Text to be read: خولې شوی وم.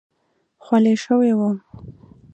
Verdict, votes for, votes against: accepted, 2, 0